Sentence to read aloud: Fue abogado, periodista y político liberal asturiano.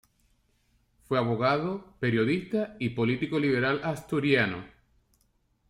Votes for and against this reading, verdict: 2, 0, accepted